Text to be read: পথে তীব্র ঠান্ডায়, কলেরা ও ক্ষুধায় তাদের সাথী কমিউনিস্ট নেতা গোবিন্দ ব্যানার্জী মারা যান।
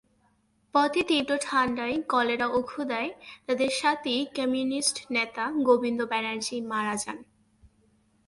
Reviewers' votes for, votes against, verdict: 18, 4, accepted